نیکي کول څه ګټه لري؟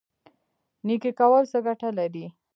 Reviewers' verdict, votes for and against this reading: rejected, 0, 2